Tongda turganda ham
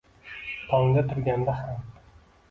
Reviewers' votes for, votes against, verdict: 2, 0, accepted